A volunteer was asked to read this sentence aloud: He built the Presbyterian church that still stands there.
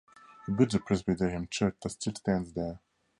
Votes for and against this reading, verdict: 4, 2, accepted